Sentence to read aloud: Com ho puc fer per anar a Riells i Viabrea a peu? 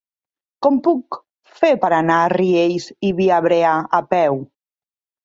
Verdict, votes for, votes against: rejected, 0, 3